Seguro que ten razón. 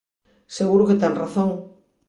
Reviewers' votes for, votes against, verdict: 2, 0, accepted